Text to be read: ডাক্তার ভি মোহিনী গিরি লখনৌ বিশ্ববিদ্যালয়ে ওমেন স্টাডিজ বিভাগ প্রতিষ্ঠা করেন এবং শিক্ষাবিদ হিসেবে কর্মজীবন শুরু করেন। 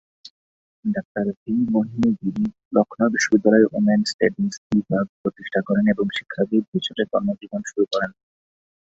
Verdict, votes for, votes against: rejected, 1, 9